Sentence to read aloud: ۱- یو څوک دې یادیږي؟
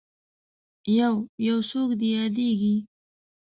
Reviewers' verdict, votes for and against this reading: rejected, 0, 2